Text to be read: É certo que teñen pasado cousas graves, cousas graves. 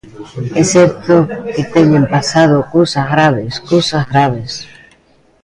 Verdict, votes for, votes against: accepted, 3, 0